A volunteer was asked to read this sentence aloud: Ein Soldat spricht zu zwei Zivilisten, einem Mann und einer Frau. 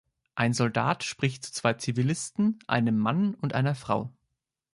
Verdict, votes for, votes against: rejected, 1, 2